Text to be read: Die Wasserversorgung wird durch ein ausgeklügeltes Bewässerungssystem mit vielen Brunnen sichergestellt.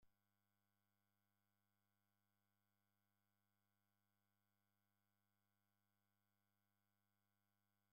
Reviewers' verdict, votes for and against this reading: rejected, 0, 2